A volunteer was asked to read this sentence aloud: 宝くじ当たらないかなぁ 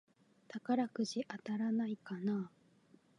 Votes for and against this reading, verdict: 2, 0, accepted